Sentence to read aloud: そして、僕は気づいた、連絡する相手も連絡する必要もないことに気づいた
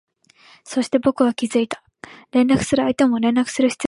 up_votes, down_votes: 1, 2